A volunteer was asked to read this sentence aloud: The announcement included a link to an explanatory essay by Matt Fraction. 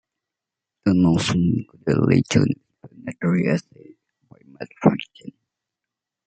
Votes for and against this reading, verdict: 0, 2, rejected